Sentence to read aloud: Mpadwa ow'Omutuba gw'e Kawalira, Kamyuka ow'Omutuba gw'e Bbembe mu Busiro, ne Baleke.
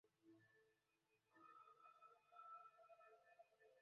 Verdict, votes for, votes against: rejected, 0, 2